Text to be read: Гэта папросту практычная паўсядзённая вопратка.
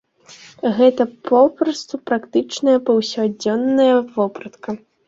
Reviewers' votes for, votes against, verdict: 1, 2, rejected